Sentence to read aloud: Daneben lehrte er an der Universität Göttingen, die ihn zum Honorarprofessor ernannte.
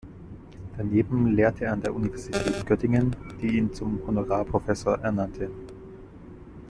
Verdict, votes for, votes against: rejected, 1, 2